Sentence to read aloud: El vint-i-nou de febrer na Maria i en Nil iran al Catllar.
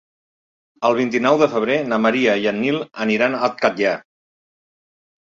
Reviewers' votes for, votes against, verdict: 1, 2, rejected